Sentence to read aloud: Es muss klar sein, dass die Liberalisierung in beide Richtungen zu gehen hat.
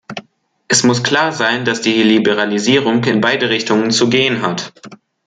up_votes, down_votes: 1, 2